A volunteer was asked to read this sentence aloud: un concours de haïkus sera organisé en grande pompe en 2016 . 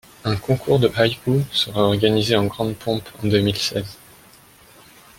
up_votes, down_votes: 0, 2